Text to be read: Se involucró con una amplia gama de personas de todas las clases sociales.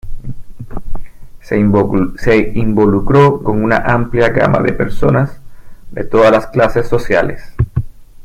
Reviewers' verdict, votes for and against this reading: rejected, 0, 2